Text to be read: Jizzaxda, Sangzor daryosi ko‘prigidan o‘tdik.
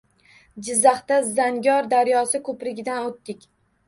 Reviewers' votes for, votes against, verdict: 1, 2, rejected